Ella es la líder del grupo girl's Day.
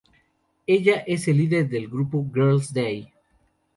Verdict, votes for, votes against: rejected, 2, 2